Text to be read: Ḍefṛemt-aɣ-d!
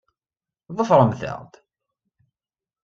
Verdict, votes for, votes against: accepted, 2, 0